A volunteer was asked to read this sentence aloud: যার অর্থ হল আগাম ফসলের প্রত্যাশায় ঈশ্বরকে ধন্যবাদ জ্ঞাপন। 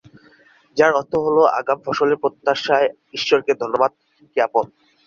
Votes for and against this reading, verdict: 11, 2, accepted